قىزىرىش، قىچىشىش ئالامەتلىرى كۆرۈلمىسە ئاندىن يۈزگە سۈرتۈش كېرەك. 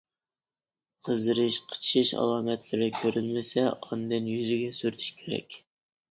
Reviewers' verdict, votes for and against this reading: rejected, 0, 2